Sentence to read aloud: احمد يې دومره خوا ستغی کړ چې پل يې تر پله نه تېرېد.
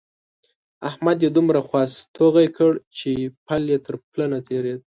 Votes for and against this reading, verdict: 2, 0, accepted